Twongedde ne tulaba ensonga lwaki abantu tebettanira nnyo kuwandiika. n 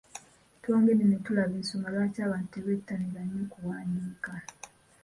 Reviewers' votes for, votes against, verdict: 2, 0, accepted